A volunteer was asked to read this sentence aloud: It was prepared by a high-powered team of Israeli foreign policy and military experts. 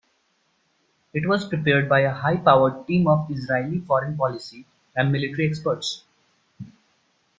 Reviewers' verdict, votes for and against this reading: accepted, 2, 0